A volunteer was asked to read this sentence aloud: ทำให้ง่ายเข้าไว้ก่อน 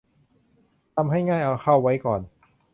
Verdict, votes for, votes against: rejected, 0, 2